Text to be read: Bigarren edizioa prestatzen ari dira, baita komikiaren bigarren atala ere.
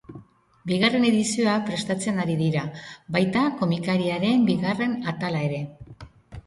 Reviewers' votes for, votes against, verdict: 1, 2, rejected